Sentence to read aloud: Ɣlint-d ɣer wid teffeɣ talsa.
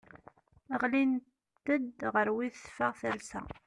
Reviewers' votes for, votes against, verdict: 0, 2, rejected